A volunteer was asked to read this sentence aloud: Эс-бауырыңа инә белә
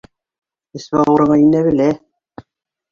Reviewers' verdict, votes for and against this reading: rejected, 1, 2